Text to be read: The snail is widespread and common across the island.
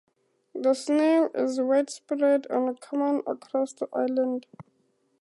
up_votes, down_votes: 4, 2